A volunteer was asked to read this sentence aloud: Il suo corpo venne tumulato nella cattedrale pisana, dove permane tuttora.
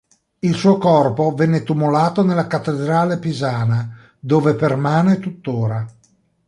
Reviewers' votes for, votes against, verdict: 2, 0, accepted